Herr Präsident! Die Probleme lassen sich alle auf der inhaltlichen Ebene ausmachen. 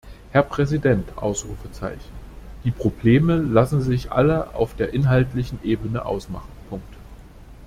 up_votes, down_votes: 0, 2